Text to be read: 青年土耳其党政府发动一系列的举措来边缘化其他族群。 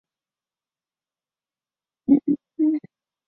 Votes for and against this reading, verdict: 0, 2, rejected